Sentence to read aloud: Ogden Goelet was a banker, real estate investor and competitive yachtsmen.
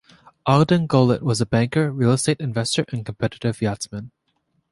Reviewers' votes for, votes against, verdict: 2, 1, accepted